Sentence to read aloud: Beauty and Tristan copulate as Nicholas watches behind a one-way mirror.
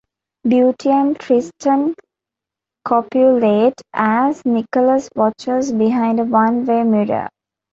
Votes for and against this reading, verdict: 2, 1, accepted